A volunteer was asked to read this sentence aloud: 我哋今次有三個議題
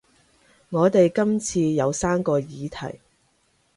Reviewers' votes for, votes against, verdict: 2, 0, accepted